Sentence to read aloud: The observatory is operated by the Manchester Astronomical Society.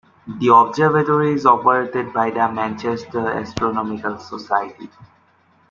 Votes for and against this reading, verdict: 2, 0, accepted